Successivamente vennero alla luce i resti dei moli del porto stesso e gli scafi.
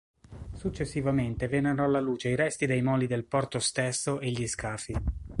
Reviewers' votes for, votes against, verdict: 2, 0, accepted